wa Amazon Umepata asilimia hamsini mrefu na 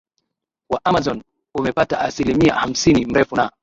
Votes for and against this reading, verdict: 2, 0, accepted